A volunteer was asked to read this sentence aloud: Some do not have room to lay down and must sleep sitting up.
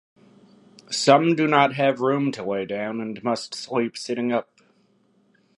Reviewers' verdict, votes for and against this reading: accepted, 2, 0